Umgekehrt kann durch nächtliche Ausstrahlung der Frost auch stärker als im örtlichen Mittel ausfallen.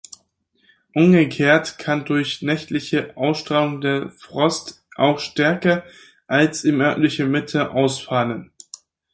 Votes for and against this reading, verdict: 2, 4, rejected